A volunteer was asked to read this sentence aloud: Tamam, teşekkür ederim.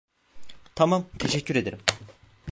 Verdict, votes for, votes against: rejected, 0, 2